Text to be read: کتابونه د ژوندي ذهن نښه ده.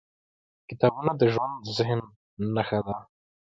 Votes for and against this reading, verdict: 1, 2, rejected